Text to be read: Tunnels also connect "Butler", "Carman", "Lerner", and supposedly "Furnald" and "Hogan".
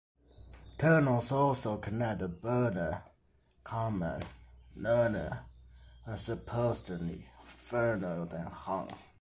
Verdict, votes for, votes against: rejected, 0, 2